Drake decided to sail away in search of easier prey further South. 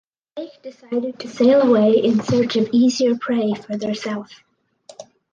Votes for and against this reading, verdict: 0, 4, rejected